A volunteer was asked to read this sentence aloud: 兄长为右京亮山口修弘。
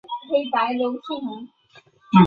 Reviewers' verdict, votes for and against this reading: rejected, 1, 2